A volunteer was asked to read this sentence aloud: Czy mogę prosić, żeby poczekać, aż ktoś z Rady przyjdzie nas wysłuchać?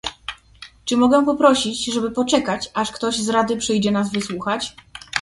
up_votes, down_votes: 1, 2